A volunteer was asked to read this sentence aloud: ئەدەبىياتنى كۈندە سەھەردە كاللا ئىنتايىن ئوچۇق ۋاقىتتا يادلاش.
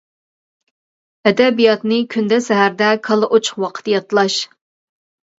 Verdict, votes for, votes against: rejected, 0, 2